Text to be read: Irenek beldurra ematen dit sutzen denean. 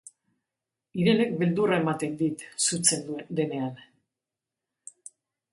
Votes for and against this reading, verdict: 1, 2, rejected